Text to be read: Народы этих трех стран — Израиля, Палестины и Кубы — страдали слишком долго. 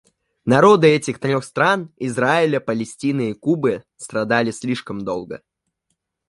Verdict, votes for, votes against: rejected, 1, 2